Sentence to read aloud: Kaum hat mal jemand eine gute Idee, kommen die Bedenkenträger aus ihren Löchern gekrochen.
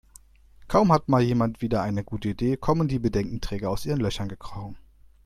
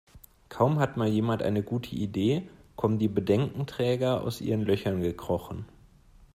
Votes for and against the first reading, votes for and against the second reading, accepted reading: 0, 2, 2, 0, second